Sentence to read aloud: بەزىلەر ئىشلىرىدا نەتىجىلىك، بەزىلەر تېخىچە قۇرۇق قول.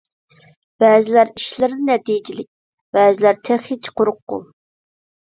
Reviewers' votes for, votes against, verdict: 2, 0, accepted